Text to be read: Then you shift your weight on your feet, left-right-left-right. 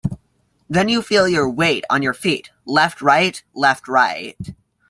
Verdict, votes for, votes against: rejected, 0, 2